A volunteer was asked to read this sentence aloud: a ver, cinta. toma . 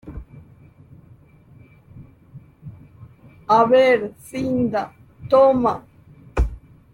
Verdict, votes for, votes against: rejected, 0, 2